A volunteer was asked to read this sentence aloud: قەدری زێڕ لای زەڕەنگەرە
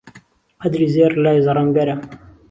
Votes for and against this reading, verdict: 2, 0, accepted